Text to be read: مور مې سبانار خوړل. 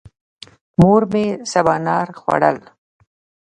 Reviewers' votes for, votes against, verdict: 2, 0, accepted